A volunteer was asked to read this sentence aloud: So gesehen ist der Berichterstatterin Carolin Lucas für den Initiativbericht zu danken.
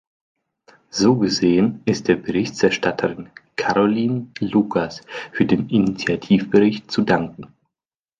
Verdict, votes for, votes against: rejected, 1, 2